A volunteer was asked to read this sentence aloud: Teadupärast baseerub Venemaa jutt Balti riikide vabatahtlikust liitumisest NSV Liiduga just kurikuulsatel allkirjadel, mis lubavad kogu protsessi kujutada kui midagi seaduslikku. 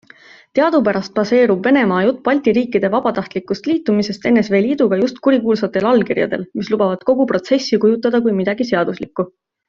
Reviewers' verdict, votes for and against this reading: accepted, 2, 0